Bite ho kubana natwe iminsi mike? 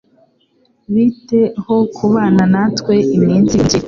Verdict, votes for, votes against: accepted, 2, 0